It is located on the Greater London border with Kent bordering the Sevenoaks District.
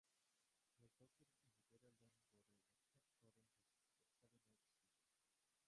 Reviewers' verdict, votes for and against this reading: rejected, 0, 2